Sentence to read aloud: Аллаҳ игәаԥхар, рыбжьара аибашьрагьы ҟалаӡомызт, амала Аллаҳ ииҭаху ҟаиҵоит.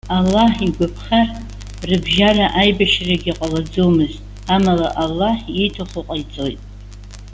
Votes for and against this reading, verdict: 2, 0, accepted